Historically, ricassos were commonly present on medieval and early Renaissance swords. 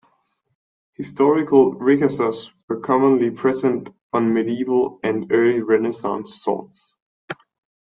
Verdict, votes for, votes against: rejected, 0, 2